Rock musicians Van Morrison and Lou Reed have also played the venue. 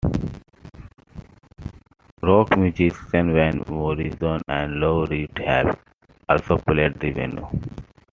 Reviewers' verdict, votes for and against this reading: accepted, 2, 1